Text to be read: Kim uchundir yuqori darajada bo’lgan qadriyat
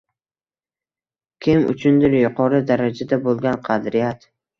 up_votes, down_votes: 2, 0